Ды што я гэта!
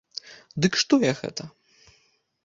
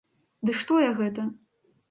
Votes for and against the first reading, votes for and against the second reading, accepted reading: 0, 2, 2, 0, second